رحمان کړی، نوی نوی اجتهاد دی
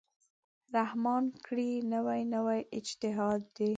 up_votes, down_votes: 1, 2